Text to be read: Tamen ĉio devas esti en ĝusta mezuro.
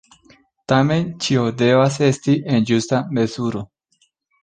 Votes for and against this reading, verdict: 2, 0, accepted